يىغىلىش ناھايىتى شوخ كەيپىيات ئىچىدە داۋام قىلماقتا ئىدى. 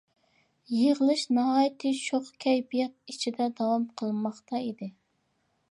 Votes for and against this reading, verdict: 2, 0, accepted